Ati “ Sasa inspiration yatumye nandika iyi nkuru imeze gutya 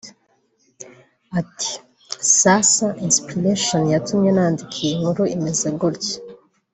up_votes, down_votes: 2, 0